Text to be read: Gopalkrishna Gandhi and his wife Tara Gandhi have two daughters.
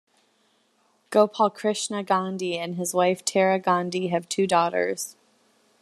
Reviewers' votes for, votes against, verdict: 2, 0, accepted